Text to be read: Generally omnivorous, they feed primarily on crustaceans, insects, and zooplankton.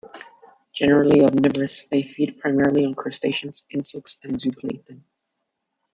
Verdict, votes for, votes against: accepted, 2, 0